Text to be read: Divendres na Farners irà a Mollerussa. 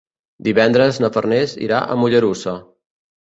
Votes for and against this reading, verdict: 2, 0, accepted